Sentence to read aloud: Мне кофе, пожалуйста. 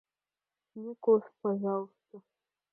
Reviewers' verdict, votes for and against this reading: rejected, 1, 2